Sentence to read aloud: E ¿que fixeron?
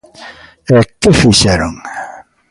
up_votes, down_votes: 2, 0